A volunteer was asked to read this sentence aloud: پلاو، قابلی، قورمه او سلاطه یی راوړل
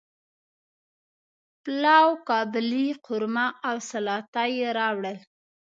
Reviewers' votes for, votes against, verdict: 2, 0, accepted